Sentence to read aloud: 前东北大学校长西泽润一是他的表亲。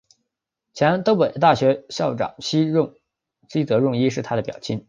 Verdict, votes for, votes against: rejected, 0, 2